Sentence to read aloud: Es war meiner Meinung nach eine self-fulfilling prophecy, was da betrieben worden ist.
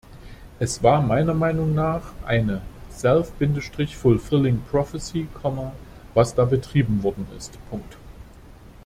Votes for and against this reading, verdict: 1, 2, rejected